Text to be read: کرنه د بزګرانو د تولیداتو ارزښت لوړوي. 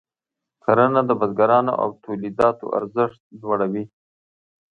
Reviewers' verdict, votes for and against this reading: accepted, 2, 0